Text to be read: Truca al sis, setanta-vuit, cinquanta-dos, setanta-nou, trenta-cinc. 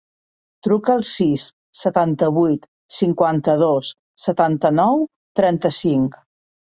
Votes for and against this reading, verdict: 3, 0, accepted